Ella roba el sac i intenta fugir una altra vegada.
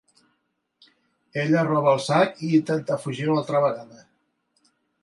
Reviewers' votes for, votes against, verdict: 2, 0, accepted